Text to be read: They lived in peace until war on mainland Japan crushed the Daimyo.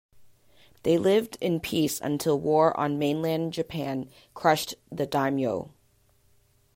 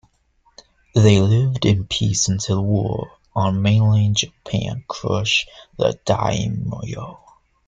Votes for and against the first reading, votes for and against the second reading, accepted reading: 2, 0, 0, 2, first